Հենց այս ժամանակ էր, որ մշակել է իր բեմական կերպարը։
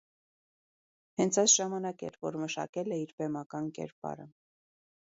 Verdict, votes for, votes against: accepted, 2, 1